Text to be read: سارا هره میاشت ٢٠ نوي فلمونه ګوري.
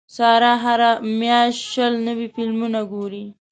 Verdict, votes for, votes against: rejected, 0, 2